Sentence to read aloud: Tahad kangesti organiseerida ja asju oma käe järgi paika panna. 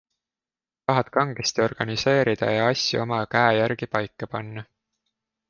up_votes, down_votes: 2, 0